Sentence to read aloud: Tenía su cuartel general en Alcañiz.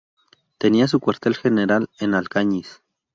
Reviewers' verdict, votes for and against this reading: rejected, 0, 2